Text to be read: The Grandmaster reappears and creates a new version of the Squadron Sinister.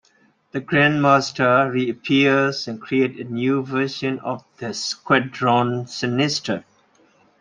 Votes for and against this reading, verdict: 2, 0, accepted